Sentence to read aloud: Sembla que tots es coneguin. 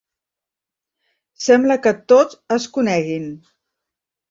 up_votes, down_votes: 0, 2